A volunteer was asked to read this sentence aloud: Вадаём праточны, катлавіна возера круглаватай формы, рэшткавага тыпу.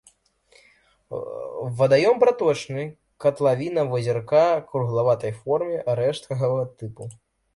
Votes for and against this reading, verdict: 0, 2, rejected